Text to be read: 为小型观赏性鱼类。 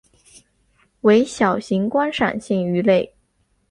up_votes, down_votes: 4, 1